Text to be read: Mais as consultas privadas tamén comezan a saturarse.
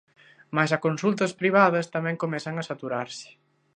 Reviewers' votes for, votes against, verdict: 0, 2, rejected